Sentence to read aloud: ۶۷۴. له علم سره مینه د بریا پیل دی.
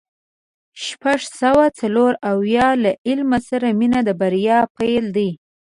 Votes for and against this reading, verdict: 0, 2, rejected